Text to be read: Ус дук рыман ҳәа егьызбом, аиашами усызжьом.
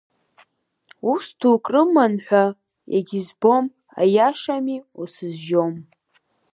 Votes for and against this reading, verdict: 4, 0, accepted